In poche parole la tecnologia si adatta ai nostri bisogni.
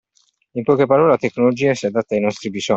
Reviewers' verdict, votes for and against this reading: rejected, 1, 2